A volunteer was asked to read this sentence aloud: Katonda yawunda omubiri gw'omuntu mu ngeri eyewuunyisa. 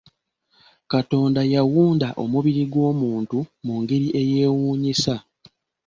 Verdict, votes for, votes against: accepted, 2, 0